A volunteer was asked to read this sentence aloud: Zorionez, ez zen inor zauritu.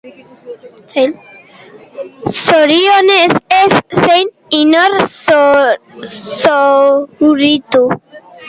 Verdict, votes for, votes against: rejected, 0, 2